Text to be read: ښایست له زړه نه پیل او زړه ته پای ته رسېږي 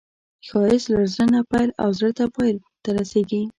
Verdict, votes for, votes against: accepted, 2, 0